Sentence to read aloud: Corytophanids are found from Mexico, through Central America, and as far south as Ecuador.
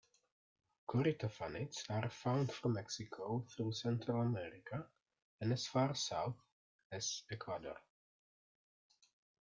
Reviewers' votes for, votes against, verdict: 2, 0, accepted